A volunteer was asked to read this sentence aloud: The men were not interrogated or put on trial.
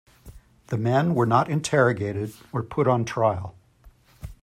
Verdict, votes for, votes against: accepted, 2, 0